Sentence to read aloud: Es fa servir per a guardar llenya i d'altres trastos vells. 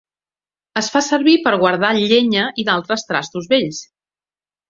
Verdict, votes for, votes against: accepted, 3, 1